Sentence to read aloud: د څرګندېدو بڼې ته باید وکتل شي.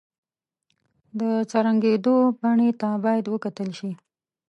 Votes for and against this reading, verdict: 0, 2, rejected